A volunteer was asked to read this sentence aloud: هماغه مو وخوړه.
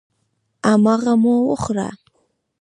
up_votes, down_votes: 0, 2